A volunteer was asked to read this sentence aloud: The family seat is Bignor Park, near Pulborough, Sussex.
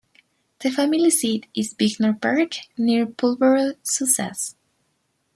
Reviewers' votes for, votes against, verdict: 1, 2, rejected